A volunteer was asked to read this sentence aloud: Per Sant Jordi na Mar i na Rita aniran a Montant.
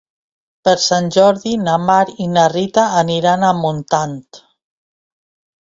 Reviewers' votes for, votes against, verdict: 2, 0, accepted